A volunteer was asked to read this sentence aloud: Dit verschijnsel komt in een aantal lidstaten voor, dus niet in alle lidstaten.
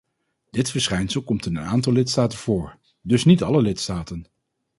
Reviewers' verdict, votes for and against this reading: rejected, 2, 2